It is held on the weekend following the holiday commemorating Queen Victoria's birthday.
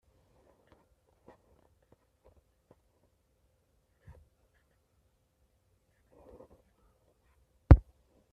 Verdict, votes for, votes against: rejected, 0, 2